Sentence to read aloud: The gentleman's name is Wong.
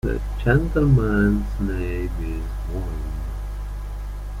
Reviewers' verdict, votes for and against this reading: accepted, 2, 0